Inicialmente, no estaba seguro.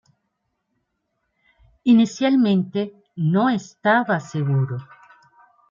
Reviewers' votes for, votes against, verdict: 2, 0, accepted